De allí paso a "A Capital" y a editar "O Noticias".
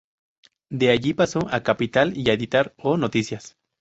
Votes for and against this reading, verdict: 0, 2, rejected